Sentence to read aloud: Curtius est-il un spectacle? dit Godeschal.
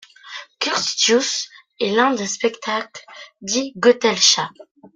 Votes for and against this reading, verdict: 0, 2, rejected